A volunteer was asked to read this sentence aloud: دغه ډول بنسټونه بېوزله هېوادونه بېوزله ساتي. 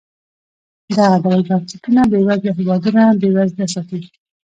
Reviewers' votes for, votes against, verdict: 1, 2, rejected